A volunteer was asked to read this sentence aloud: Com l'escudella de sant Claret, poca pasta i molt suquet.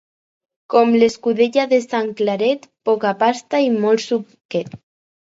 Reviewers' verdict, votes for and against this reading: accepted, 4, 0